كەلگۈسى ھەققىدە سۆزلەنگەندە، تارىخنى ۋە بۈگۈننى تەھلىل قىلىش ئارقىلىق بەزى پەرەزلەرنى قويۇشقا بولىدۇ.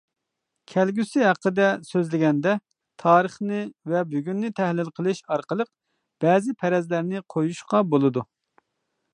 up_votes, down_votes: 0, 2